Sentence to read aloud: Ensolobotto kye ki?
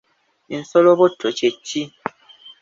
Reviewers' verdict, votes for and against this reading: accepted, 2, 1